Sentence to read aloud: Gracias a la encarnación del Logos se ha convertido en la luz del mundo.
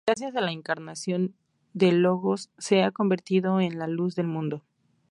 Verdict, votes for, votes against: accepted, 2, 0